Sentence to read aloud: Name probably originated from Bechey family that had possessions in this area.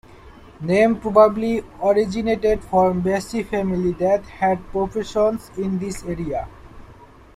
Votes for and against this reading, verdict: 0, 2, rejected